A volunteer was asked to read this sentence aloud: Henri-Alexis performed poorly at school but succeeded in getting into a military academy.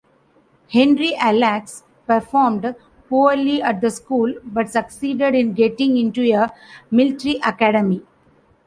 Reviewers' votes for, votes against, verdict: 0, 2, rejected